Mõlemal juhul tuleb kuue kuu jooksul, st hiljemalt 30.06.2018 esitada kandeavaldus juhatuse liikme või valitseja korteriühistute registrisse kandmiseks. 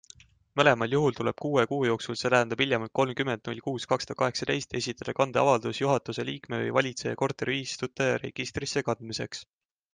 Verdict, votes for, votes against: rejected, 0, 2